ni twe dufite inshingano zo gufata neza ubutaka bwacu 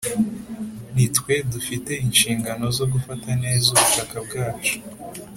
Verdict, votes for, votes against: accepted, 2, 0